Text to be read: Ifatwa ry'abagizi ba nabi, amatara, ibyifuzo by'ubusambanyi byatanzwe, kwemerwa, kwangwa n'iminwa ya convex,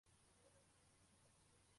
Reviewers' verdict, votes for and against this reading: rejected, 0, 2